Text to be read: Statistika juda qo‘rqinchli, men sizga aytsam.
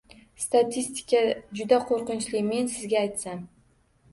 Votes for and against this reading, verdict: 2, 1, accepted